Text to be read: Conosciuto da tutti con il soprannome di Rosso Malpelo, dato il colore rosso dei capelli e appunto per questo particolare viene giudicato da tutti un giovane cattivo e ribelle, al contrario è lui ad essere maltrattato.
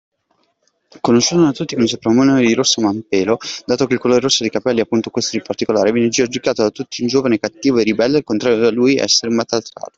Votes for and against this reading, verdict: 0, 2, rejected